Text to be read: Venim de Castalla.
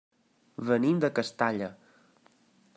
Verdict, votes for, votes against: accepted, 3, 0